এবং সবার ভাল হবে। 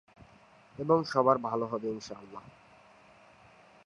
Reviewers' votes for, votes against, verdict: 0, 2, rejected